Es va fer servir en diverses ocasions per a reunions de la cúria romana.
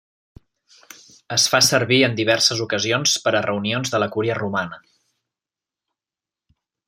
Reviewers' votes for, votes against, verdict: 1, 2, rejected